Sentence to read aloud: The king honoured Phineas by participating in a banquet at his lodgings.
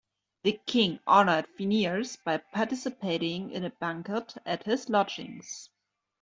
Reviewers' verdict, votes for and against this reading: accepted, 2, 0